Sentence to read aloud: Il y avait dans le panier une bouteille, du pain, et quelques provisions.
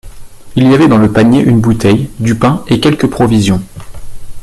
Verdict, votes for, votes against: accepted, 2, 1